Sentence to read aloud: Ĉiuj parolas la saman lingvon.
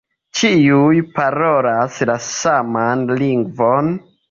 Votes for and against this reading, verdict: 2, 0, accepted